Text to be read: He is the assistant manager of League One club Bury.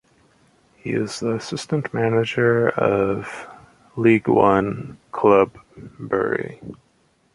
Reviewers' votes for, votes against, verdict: 2, 1, accepted